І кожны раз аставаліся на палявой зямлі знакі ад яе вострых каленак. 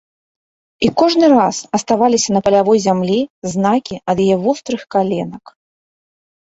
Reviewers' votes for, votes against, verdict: 2, 0, accepted